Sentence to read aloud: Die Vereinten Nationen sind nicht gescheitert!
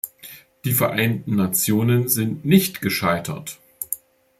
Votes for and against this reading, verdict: 2, 0, accepted